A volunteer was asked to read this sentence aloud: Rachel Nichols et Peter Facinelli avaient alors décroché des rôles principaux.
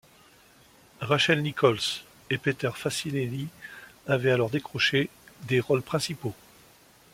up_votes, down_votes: 2, 0